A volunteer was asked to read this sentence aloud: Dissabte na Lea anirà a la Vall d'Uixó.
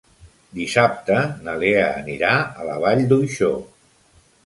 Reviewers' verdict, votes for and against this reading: accepted, 3, 0